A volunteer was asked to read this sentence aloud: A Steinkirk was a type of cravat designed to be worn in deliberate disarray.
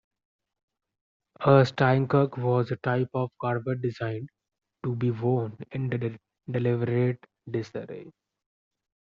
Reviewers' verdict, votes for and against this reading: rejected, 0, 2